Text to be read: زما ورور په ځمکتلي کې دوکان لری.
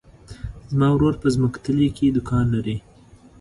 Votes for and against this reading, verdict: 2, 0, accepted